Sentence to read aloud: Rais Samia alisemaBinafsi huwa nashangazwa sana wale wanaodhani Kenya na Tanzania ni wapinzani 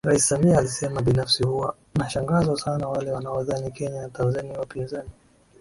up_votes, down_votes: 2, 0